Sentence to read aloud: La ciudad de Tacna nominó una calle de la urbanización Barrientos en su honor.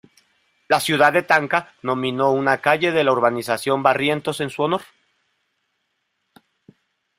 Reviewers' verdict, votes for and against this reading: rejected, 1, 2